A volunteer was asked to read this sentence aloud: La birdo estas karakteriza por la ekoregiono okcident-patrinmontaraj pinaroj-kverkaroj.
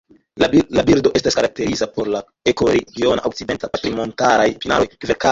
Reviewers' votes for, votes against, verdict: 0, 2, rejected